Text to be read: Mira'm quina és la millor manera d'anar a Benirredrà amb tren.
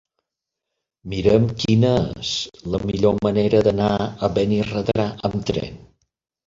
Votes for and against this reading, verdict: 0, 4, rejected